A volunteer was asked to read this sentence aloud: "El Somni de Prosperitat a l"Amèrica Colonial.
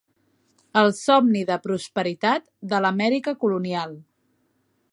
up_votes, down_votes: 0, 2